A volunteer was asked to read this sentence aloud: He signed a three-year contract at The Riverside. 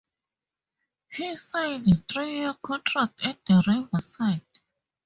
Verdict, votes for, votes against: rejected, 0, 4